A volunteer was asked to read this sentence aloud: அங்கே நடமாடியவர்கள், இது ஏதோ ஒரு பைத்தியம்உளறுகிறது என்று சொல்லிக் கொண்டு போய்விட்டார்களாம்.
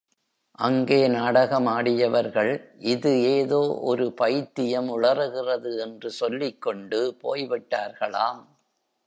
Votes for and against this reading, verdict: 1, 2, rejected